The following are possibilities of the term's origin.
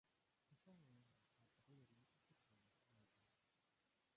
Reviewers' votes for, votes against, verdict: 0, 2, rejected